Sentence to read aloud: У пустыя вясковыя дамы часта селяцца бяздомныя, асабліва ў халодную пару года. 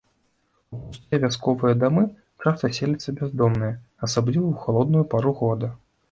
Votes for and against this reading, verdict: 1, 2, rejected